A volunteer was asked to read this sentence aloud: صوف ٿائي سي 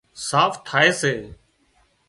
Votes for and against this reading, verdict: 0, 2, rejected